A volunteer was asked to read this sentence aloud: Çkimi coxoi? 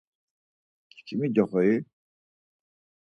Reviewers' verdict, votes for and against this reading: accepted, 4, 0